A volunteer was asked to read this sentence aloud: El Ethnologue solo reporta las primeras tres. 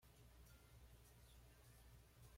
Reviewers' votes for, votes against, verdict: 1, 2, rejected